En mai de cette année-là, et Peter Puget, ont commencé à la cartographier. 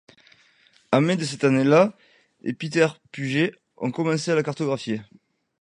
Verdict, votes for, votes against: accepted, 2, 0